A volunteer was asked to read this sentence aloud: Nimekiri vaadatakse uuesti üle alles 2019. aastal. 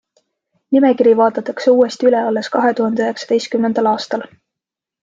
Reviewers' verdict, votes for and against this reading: rejected, 0, 2